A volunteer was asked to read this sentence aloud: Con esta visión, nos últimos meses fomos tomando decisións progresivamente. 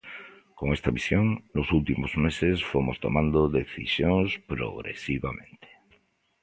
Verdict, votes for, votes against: accepted, 2, 0